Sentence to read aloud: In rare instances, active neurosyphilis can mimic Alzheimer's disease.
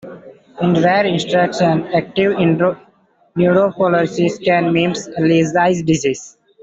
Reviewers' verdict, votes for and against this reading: rejected, 0, 2